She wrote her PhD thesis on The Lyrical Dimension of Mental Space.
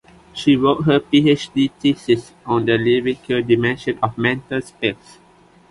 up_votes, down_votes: 2, 0